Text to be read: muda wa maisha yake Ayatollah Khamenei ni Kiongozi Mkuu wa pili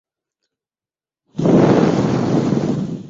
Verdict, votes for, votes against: rejected, 0, 2